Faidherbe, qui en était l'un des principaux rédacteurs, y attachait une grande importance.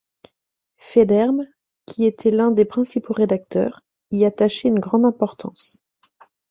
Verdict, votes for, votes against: rejected, 0, 2